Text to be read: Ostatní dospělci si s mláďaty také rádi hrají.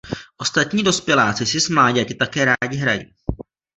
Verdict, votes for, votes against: rejected, 0, 2